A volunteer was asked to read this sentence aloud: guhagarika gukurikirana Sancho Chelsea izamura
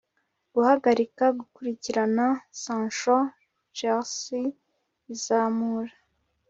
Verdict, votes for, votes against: accepted, 2, 0